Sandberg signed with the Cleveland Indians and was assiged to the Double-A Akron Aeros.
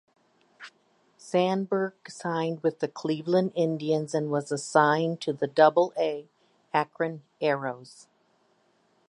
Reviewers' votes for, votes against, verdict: 1, 2, rejected